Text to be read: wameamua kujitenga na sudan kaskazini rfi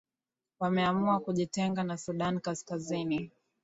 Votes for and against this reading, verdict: 1, 2, rejected